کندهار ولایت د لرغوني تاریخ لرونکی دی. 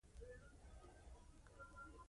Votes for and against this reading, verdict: 1, 2, rejected